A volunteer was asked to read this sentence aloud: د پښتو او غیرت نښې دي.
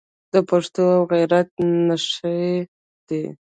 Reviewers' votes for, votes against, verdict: 2, 0, accepted